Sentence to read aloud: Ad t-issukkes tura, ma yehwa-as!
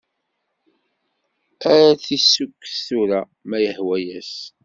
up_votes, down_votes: 2, 0